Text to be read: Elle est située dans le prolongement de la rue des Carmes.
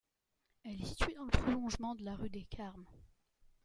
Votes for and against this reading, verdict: 1, 2, rejected